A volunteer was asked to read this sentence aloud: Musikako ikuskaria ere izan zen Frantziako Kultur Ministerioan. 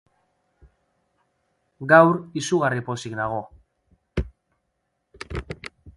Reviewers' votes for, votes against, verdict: 0, 2, rejected